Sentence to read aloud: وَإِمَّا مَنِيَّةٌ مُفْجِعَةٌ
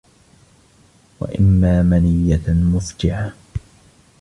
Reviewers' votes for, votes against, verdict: 1, 2, rejected